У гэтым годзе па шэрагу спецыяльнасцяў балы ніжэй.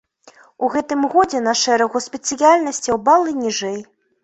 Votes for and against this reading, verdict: 0, 2, rejected